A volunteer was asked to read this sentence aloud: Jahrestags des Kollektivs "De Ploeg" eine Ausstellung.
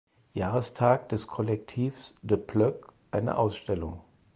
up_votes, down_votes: 4, 0